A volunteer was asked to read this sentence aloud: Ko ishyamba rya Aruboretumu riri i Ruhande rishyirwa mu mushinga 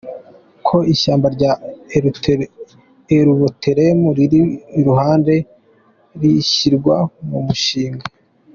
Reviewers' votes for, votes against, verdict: 2, 1, accepted